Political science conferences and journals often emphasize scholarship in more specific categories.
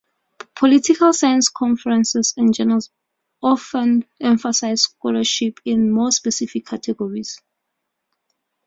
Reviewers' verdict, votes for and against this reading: accepted, 2, 0